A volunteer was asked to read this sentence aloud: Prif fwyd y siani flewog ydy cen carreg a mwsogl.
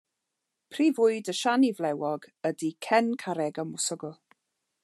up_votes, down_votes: 2, 0